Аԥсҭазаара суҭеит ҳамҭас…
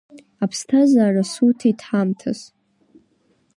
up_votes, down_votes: 2, 0